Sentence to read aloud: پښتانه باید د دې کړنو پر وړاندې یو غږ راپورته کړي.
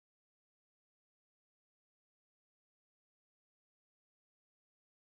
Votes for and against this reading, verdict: 2, 3, rejected